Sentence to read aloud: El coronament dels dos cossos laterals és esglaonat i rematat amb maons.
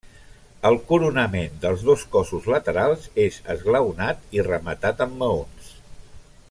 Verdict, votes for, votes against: accepted, 3, 0